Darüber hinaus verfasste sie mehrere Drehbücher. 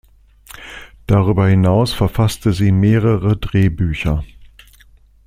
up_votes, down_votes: 2, 0